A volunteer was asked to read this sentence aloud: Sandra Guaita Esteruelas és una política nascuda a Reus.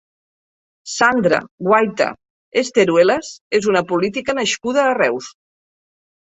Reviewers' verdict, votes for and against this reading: accepted, 3, 0